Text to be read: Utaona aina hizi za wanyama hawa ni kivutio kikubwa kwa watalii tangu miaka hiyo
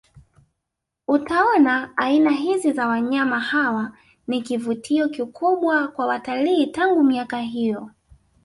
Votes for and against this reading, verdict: 2, 1, accepted